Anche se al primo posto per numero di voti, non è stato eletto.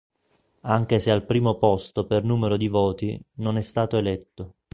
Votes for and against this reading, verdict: 2, 0, accepted